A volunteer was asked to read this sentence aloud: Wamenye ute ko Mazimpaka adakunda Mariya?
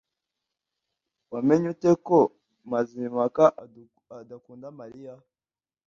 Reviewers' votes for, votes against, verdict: 0, 2, rejected